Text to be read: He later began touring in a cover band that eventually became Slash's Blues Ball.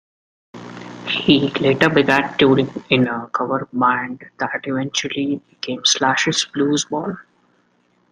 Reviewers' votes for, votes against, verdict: 0, 2, rejected